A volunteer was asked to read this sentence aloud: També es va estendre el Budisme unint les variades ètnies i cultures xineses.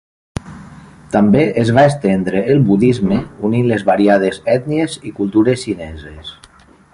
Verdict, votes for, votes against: accepted, 2, 0